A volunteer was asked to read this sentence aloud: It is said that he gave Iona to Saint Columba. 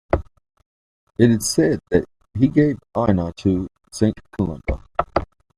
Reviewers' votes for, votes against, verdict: 1, 2, rejected